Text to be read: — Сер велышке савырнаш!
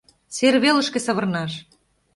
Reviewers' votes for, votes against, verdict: 2, 0, accepted